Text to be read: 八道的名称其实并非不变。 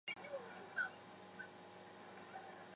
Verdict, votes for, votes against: rejected, 0, 2